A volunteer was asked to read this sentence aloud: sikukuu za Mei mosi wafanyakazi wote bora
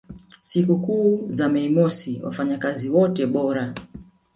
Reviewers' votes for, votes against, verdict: 1, 2, rejected